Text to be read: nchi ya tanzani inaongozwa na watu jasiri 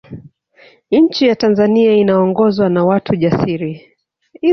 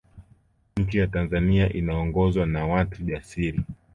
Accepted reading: second